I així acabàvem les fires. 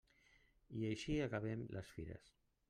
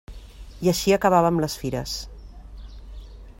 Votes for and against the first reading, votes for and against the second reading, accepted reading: 1, 2, 3, 0, second